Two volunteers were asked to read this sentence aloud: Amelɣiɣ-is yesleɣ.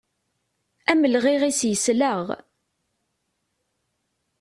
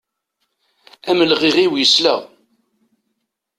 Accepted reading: first